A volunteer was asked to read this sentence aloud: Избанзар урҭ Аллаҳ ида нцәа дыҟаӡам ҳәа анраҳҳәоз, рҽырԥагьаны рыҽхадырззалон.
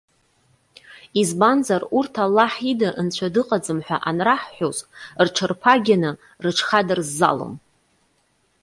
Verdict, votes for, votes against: accepted, 2, 0